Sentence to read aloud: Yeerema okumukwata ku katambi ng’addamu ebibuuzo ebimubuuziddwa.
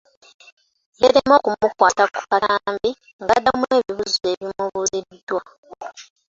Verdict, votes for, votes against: rejected, 0, 2